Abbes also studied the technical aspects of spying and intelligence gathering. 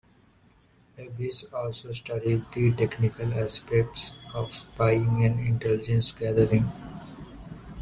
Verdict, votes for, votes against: accepted, 2, 0